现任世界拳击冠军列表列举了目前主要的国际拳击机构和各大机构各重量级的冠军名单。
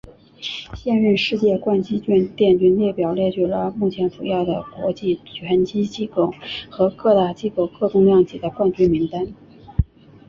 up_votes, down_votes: 2, 1